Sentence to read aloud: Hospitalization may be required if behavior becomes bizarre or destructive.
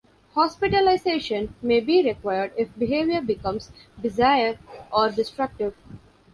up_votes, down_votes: 0, 2